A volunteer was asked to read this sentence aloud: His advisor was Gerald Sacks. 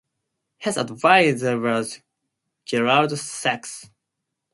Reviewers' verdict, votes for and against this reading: accepted, 4, 0